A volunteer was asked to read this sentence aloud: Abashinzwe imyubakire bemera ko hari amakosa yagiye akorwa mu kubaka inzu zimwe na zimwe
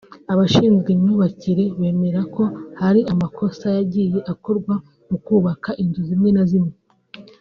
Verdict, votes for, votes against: accepted, 2, 0